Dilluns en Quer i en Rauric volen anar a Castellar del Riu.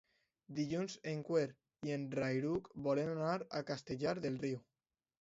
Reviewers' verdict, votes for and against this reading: accepted, 2, 0